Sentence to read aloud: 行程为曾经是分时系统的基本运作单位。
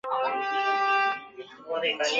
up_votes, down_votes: 1, 2